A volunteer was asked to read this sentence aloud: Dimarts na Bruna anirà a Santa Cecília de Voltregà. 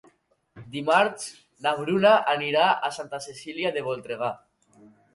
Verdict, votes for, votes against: accepted, 2, 0